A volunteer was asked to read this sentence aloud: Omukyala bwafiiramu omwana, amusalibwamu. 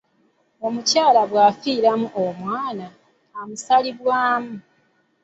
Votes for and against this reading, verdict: 2, 1, accepted